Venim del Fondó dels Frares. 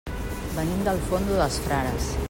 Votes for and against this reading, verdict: 1, 2, rejected